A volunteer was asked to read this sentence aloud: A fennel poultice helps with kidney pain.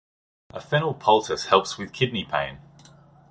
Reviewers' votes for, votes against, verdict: 2, 0, accepted